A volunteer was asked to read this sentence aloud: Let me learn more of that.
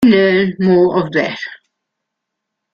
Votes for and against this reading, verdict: 0, 2, rejected